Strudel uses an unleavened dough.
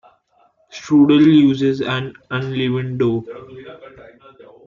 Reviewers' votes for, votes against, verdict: 1, 2, rejected